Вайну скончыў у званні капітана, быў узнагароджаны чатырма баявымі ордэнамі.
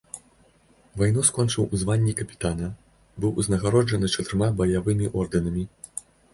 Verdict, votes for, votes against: accepted, 2, 0